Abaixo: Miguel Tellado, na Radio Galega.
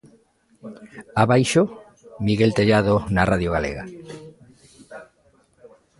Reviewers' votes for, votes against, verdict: 2, 1, accepted